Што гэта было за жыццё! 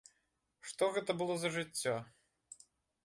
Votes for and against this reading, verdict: 2, 0, accepted